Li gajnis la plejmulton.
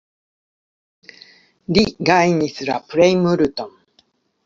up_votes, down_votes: 1, 2